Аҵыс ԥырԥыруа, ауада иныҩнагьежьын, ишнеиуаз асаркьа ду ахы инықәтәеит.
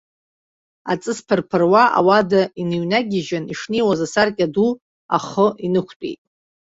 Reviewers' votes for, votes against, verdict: 2, 0, accepted